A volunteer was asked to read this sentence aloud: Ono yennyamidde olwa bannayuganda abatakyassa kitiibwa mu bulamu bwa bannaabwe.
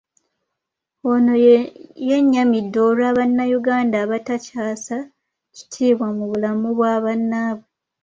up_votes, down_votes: 1, 2